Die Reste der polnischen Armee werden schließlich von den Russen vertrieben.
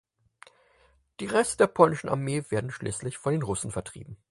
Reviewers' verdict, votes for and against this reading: accepted, 4, 0